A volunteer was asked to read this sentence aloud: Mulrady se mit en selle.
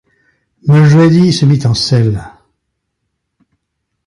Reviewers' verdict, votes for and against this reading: rejected, 1, 2